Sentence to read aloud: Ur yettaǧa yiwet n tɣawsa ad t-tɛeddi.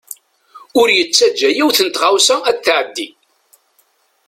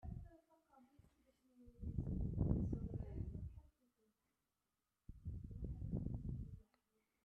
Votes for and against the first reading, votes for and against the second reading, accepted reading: 2, 0, 0, 2, first